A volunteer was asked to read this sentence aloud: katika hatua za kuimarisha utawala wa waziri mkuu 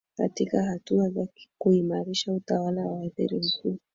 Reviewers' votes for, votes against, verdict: 3, 0, accepted